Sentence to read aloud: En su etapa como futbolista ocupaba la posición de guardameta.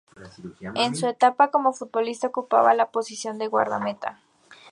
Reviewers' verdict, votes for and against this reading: accepted, 2, 0